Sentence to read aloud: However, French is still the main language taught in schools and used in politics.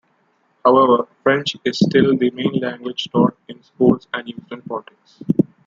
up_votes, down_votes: 1, 2